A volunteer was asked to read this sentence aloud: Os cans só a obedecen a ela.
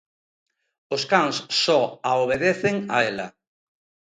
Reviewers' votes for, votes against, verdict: 2, 0, accepted